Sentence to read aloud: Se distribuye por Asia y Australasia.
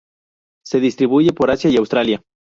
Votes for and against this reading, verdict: 0, 2, rejected